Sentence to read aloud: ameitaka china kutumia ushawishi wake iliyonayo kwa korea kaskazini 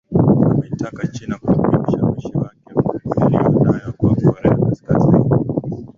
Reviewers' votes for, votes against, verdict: 0, 2, rejected